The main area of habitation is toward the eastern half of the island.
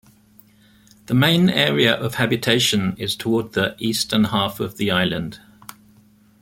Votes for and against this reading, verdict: 2, 0, accepted